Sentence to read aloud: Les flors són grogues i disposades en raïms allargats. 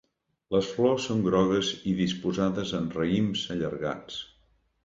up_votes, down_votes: 2, 0